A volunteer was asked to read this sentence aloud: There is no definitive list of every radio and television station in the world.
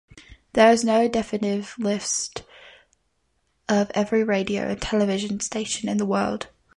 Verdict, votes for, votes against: rejected, 0, 2